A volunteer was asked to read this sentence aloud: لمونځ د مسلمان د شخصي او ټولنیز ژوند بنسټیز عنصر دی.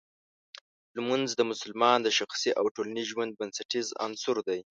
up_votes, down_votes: 2, 0